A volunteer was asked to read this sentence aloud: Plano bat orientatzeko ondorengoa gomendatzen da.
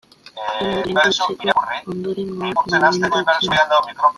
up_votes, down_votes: 0, 2